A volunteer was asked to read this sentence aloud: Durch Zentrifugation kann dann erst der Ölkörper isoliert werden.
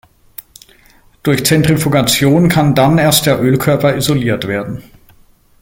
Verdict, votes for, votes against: accepted, 2, 0